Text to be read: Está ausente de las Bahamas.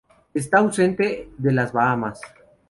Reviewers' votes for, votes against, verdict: 2, 0, accepted